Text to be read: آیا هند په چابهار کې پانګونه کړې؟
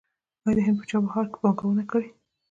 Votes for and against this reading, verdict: 0, 2, rejected